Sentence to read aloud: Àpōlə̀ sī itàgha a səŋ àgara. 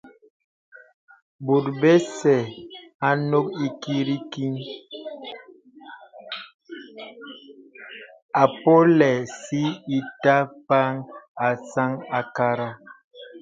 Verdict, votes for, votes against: rejected, 0, 2